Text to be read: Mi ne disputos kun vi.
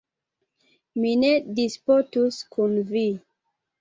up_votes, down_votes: 0, 2